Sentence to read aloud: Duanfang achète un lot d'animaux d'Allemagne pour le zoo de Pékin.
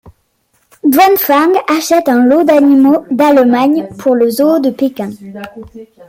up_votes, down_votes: 2, 0